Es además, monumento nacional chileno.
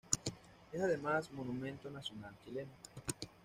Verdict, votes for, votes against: accepted, 2, 0